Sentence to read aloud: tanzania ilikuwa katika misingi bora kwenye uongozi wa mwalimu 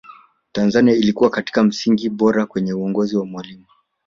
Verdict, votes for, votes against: accepted, 2, 0